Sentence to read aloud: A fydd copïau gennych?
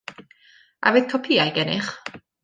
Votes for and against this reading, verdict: 2, 0, accepted